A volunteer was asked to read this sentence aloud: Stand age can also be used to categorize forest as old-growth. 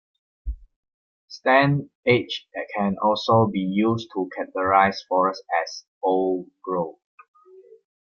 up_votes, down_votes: 1, 2